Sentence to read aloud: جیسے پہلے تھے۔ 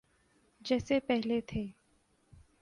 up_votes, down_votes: 2, 0